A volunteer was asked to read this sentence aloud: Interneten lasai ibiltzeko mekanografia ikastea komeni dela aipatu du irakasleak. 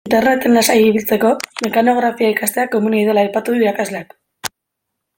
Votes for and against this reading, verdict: 1, 2, rejected